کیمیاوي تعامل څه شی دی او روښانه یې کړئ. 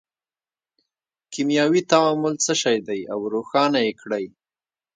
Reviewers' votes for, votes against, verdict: 2, 0, accepted